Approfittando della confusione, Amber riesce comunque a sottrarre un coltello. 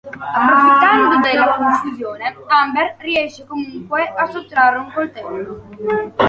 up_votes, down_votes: 2, 1